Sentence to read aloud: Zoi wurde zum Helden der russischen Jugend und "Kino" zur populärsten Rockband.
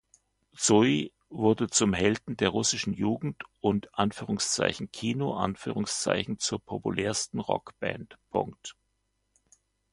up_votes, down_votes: 1, 2